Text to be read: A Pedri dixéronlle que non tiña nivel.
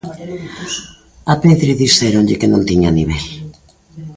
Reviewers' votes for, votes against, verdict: 2, 1, accepted